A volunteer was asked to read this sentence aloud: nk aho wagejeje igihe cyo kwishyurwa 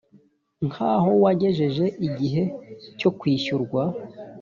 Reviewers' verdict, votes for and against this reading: accepted, 2, 0